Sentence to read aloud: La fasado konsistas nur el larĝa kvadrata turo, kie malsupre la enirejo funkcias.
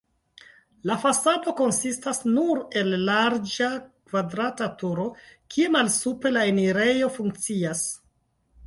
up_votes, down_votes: 2, 0